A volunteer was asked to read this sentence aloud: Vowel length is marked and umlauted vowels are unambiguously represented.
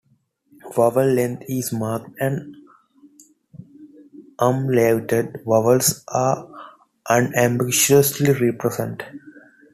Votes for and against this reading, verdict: 0, 2, rejected